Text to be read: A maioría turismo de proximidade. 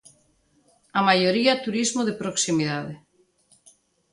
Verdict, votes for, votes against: accepted, 2, 0